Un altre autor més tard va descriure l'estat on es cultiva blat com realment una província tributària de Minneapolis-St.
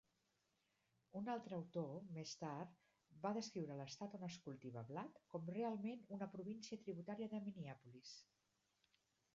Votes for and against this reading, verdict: 1, 2, rejected